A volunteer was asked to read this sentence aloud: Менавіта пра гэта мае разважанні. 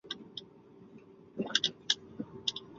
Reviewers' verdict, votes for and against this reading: rejected, 0, 2